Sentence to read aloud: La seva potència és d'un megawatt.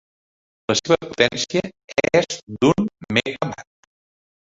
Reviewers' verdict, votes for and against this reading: rejected, 1, 2